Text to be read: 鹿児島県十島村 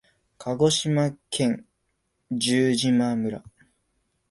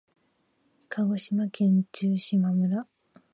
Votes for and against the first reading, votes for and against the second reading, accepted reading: 2, 0, 0, 2, first